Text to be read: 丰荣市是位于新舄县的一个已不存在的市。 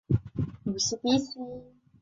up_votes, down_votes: 1, 3